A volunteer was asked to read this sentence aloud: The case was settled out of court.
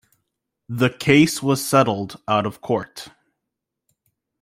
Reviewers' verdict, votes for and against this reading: accepted, 2, 0